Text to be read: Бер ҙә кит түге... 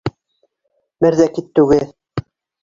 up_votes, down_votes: 1, 2